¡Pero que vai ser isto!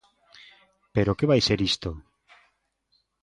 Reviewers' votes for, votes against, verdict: 2, 0, accepted